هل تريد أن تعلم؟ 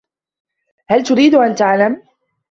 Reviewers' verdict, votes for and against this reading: accepted, 2, 0